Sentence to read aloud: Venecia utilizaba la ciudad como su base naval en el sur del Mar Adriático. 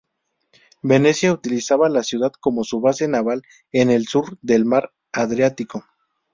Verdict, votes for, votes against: accepted, 2, 0